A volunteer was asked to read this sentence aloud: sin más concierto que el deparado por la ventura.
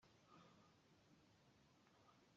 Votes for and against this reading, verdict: 0, 2, rejected